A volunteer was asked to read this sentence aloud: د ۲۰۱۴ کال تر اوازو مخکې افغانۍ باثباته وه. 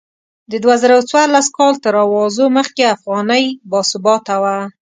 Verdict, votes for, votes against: rejected, 0, 2